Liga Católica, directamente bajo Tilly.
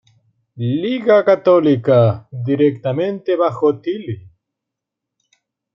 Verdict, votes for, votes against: rejected, 1, 2